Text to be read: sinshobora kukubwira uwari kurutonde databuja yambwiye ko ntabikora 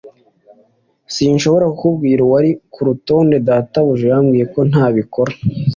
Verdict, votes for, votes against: accepted, 2, 0